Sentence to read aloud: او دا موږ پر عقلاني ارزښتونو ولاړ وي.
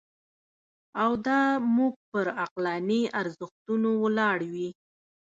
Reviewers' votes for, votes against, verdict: 0, 2, rejected